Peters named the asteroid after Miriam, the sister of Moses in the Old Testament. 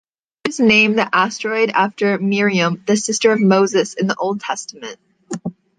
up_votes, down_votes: 0, 2